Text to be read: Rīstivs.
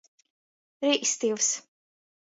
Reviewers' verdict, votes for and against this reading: rejected, 1, 2